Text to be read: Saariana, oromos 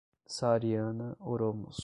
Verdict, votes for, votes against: rejected, 0, 5